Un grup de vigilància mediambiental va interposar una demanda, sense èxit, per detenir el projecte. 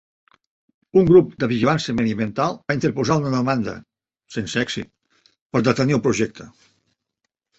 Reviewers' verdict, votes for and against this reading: accepted, 2, 1